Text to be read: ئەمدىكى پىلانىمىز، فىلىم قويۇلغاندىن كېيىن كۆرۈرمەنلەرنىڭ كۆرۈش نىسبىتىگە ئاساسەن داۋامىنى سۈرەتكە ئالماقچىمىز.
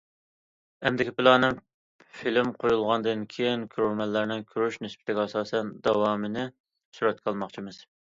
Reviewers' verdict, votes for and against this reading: rejected, 0, 2